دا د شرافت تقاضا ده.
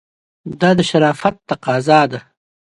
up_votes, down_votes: 2, 0